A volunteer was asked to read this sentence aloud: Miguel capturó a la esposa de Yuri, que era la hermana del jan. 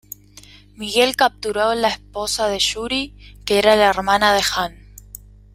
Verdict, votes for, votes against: rejected, 1, 2